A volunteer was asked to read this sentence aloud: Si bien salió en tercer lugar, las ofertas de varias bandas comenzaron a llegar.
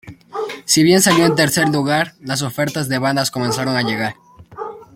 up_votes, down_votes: 0, 2